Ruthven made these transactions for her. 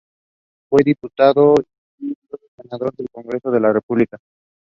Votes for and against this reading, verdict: 1, 2, rejected